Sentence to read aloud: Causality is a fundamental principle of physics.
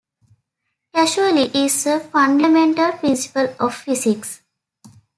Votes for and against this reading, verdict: 0, 2, rejected